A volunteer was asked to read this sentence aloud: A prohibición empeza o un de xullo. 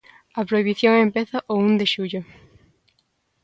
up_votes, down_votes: 2, 0